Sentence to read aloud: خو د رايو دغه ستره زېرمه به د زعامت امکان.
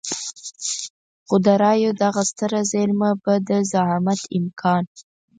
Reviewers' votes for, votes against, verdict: 4, 2, accepted